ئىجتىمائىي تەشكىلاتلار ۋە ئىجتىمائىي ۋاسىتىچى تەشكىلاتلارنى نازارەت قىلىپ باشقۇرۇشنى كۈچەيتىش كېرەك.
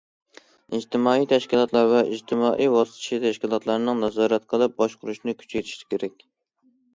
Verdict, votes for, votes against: rejected, 1, 2